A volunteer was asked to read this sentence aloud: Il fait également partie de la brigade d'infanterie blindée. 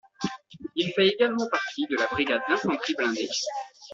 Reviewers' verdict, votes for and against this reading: rejected, 0, 2